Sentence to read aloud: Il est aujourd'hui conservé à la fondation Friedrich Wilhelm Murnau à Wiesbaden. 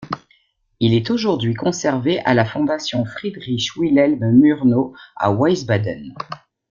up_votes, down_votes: 0, 2